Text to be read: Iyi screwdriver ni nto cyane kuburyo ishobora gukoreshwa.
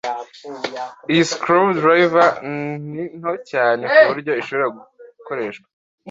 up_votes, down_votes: 2, 1